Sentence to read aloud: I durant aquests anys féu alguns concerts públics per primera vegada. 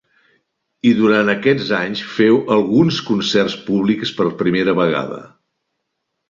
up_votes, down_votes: 2, 0